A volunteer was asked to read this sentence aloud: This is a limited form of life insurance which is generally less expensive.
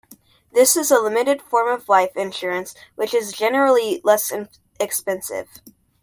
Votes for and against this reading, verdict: 2, 0, accepted